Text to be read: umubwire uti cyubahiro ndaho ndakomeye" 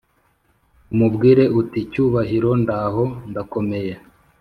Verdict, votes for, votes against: accepted, 3, 0